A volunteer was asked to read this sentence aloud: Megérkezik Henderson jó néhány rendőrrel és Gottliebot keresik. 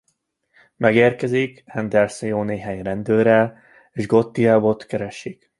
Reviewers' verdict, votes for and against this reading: rejected, 0, 2